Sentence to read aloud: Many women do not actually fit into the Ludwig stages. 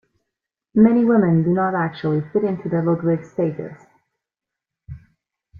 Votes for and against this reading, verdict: 2, 0, accepted